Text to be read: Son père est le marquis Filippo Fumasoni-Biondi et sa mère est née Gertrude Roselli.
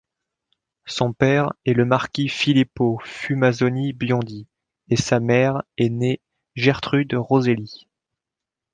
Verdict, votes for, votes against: accepted, 3, 0